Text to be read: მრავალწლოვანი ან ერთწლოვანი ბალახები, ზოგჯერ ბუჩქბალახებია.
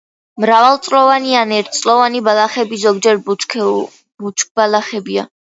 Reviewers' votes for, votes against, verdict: 0, 2, rejected